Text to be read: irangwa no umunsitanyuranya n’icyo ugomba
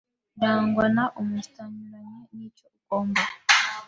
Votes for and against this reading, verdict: 0, 2, rejected